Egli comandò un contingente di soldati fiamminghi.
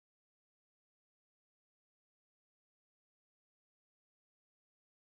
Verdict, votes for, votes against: rejected, 0, 2